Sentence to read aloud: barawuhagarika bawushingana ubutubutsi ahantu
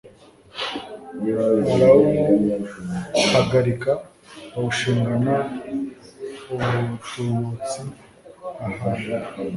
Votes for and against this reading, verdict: 0, 2, rejected